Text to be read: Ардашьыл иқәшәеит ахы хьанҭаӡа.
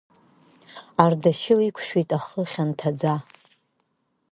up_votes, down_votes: 1, 2